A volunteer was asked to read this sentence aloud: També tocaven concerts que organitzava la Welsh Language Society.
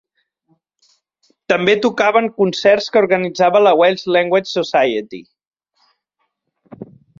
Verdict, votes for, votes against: accepted, 3, 0